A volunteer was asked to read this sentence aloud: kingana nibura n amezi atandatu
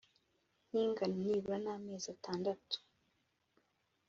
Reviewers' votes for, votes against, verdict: 2, 0, accepted